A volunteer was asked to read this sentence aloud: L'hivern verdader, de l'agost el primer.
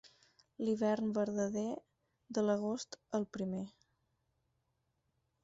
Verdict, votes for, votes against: accepted, 4, 0